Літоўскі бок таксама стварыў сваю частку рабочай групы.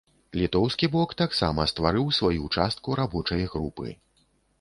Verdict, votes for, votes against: accepted, 2, 0